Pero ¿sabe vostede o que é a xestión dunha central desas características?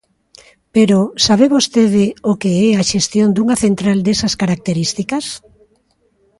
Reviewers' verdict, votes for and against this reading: accepted, 2, 1